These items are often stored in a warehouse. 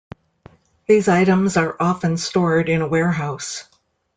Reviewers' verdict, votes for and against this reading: accepted, 2, 0